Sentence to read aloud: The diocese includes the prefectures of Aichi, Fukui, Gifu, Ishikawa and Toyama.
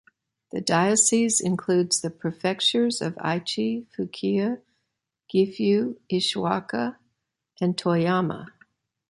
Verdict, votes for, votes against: rejected, 0, 2